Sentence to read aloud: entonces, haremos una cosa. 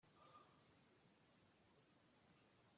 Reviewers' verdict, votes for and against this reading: rejected, 0, 2